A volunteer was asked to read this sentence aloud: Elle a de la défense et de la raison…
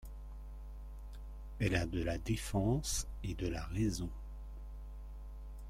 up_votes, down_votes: 2, 0